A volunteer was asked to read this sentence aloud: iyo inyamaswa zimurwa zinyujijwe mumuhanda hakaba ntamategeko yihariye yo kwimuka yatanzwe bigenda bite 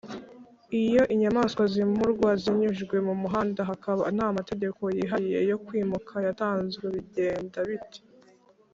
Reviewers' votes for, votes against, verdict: 3, 0, accepted